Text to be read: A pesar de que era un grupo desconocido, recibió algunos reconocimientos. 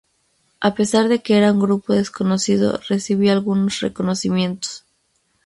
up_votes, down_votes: 2, 0